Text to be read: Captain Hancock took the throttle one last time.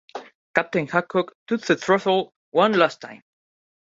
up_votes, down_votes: 0, 2